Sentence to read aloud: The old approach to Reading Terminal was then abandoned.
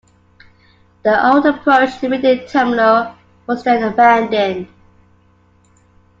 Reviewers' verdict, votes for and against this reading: accepted, 2, 1